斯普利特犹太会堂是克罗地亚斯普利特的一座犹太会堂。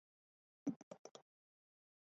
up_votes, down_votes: 0, 2